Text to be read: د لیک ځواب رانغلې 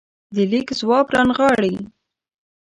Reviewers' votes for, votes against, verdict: 1, 2, rejected